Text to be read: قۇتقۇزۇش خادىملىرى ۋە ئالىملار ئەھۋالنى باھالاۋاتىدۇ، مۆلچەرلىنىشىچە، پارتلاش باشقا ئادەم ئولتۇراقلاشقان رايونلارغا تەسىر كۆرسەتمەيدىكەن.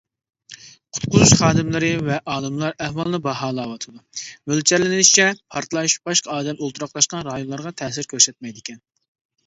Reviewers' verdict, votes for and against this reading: accepted, 2, 0